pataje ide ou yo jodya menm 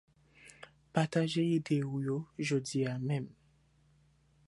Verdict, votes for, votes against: accepted, 2, 0